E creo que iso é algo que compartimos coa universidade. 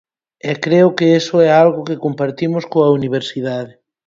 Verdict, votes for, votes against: rejected, 2, 4